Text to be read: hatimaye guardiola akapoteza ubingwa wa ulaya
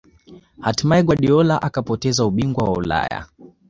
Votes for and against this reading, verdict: 0, 2, rejected